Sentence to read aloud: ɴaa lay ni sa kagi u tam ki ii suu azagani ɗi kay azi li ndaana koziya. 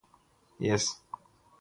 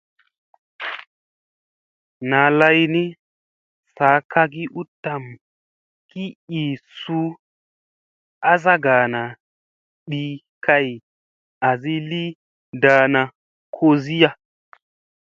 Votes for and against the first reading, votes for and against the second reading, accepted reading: 0, 3, 3, 0, second